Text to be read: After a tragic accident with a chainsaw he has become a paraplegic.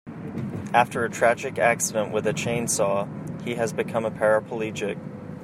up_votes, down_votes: 3, 0